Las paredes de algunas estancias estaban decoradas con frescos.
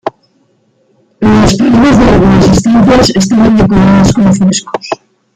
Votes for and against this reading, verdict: 0, 2, rejected